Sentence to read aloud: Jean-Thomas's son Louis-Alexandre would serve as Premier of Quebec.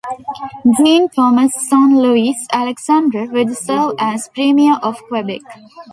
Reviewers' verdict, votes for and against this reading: accepted, 2, 0